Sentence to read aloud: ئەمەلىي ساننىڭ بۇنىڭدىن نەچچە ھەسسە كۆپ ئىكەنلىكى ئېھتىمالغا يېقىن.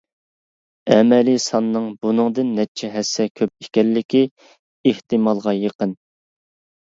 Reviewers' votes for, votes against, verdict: 2, 0, accepted